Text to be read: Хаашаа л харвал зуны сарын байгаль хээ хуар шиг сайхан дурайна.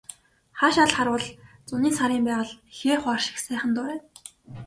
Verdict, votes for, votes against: accepted, 2, 0